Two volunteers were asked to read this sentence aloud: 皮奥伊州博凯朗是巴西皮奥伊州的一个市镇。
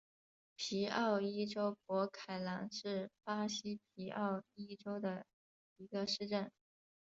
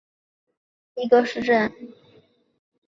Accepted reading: first